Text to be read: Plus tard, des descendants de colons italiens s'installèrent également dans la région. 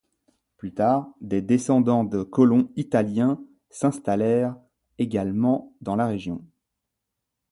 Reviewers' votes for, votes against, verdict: 2, 0, accepted